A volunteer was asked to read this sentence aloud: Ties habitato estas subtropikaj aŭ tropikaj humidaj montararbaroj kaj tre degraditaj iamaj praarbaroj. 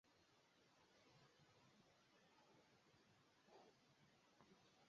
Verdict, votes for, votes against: rejected, 0, 2